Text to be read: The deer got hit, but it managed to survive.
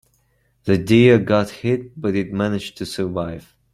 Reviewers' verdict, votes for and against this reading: accepted, 2, 1